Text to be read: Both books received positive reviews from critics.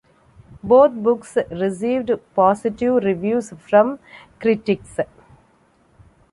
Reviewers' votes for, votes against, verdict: 2, 0, accepted